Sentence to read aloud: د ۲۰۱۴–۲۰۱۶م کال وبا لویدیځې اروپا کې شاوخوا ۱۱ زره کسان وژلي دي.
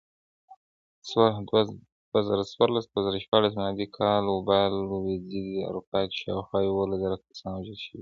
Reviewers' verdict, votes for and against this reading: rejected, 0, 2